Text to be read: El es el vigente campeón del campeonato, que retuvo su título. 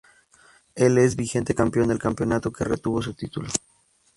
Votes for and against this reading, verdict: 0, 4, rejected